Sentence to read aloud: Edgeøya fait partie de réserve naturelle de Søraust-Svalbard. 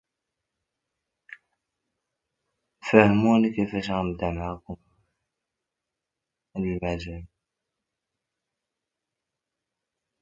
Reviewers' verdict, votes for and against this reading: rejected, 0, 2